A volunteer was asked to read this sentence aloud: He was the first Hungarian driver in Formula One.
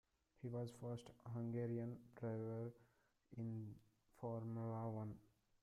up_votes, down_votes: 0, 2